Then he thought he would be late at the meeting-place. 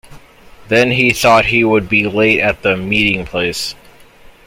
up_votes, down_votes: 2, 0